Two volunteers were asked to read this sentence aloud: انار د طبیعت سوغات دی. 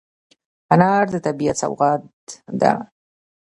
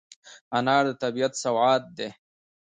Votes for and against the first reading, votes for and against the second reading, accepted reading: 1, 2, 2, 1, second